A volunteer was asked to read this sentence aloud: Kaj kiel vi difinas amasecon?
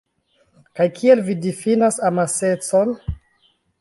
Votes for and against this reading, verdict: 2, 1, accepted